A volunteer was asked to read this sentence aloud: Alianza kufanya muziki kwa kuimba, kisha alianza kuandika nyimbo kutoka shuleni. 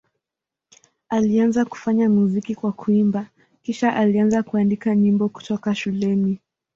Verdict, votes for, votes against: accepted, 2, 0